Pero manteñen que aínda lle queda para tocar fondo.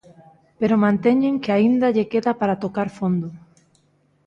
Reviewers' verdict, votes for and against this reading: accepted, 2, 0